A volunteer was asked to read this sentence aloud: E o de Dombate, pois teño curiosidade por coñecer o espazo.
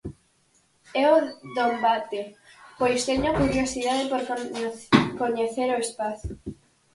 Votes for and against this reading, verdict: 0, 4, rejected